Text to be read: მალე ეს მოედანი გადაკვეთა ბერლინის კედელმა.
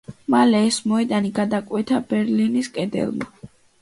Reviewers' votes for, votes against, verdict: 2, 0, accepted